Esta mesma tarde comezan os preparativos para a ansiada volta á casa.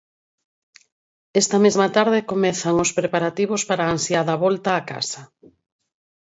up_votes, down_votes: 4, 0